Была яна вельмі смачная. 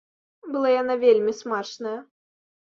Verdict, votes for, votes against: accepted, 2, 0